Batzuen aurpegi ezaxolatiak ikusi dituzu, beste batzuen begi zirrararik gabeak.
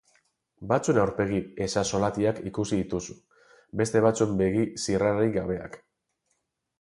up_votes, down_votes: 4, 2